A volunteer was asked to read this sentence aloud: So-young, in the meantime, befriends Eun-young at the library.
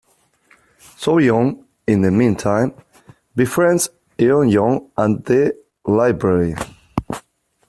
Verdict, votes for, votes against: accepted, 2, 1